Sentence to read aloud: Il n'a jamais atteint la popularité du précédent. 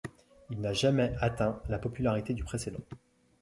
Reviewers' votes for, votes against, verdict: 1, 2, rejected